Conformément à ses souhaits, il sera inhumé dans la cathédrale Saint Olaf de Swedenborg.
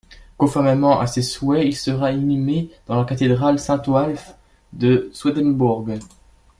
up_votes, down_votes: 1, 2